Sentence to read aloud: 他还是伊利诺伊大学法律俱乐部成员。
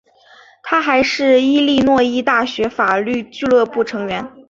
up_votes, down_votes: 3, 0